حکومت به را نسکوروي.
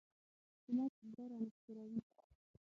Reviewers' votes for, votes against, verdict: 3, 6, rejected